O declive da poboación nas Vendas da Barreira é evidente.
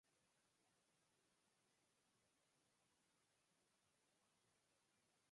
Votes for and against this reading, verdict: 0, 2, rejected